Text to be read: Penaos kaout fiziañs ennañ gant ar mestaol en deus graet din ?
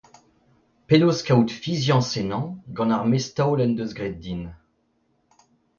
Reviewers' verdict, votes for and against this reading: accepted, 2, 0